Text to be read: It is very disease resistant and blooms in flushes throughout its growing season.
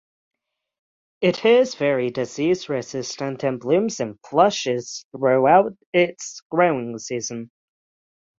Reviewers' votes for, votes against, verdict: 3, 3, rejected